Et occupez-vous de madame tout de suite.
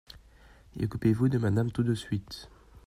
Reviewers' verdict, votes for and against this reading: rejected, 0, 2